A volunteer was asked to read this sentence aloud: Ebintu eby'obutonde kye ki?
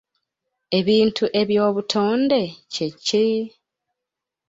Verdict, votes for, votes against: accepted, 2, 0